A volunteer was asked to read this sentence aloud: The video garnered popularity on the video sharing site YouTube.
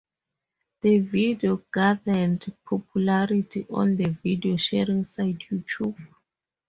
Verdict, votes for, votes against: accepted, 2, 0